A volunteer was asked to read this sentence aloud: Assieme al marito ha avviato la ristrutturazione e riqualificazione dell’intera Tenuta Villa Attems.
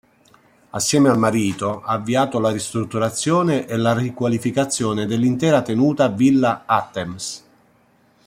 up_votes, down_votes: 1, 2